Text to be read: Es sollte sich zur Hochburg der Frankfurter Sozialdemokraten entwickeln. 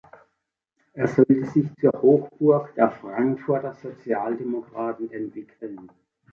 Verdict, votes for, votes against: accepted, 2, 0